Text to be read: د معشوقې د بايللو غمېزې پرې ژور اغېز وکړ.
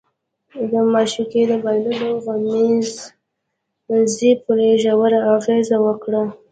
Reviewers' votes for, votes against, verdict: 1, 2, rejected